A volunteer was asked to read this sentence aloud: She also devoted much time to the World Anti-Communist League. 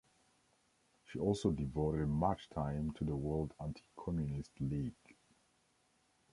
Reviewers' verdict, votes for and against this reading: accepted, 2, 0